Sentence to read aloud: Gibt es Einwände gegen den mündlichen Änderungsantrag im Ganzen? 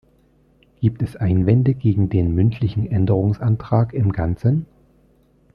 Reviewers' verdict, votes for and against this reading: accepted, 2, 0